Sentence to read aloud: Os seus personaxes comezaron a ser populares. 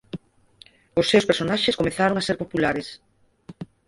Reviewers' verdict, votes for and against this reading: rejected, 2, 4